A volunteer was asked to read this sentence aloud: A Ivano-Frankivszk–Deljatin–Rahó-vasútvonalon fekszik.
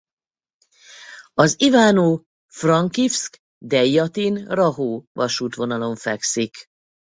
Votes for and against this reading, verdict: 2, 4, rejected